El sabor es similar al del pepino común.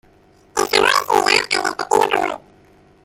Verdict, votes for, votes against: rejected, 0, 2